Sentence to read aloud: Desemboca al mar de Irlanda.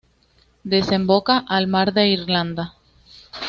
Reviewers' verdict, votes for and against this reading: accepted, 2, 0